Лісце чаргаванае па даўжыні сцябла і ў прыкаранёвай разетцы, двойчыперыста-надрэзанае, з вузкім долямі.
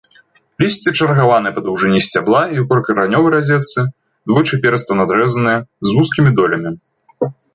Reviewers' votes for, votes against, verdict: 2, 0, accepted